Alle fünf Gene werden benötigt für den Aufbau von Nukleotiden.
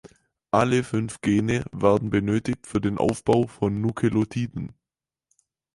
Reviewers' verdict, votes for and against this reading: rejected, 2, 6